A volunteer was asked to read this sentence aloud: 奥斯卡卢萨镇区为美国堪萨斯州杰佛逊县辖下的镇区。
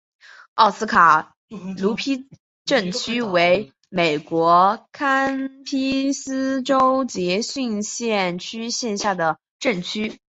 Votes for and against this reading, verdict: 1, 4, rejected